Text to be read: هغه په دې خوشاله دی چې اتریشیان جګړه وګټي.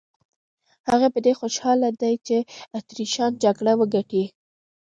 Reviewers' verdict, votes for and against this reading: rejected, 0, 2